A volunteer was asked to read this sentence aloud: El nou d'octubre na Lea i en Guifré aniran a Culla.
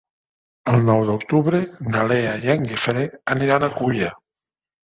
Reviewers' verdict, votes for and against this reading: accepted, 3, 0